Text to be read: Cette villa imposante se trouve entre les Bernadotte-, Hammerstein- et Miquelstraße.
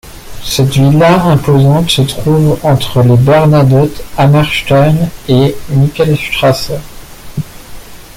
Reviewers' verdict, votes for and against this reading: rejected, 0, 2